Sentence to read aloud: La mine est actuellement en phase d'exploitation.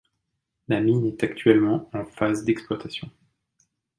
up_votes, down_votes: 2, 0